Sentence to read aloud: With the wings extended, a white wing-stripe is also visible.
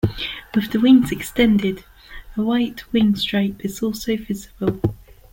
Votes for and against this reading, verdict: 2, 0, accepted